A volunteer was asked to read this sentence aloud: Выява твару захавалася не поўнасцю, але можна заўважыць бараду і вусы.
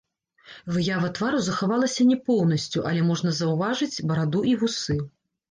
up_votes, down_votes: 1, 2